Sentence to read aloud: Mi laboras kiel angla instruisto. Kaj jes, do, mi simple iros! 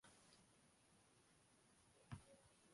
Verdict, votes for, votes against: rejected, 0, 2